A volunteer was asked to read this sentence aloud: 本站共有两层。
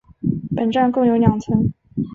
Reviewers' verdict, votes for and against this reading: accepted, 6, 1